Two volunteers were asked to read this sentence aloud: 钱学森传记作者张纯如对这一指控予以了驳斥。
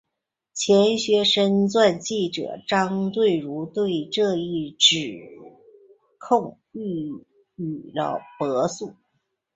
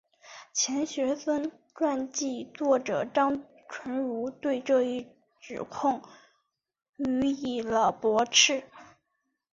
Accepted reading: second